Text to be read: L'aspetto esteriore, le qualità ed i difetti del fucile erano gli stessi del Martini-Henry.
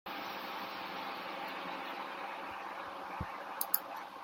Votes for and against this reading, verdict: 0, 2, rejected